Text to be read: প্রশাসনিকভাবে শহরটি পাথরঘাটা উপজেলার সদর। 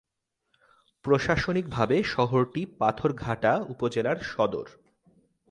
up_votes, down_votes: 3, 0